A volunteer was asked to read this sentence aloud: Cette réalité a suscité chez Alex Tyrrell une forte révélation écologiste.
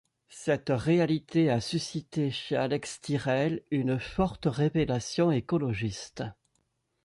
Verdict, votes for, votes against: accepted, 2, 0